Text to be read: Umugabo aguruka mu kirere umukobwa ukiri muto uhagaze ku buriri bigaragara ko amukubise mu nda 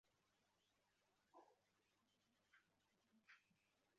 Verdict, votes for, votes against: rejected, 0, 2